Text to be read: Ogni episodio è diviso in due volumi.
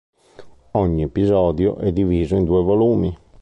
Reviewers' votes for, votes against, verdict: 2, 0, accepted